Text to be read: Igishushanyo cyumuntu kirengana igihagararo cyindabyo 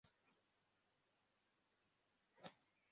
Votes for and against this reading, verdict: 0, 2, rejected